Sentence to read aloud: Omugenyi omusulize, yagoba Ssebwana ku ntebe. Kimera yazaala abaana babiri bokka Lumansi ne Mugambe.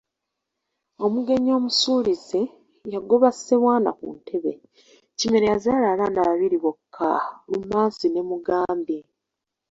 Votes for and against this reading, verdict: 2, 1, accepted